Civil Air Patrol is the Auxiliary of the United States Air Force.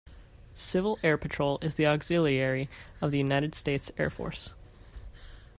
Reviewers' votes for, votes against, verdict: 2, 0, accepted